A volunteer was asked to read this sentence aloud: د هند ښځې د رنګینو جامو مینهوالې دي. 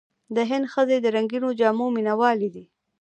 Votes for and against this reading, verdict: 2, 0, accepted